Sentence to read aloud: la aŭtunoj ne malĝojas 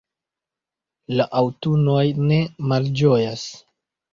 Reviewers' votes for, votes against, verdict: 0, 2, rejected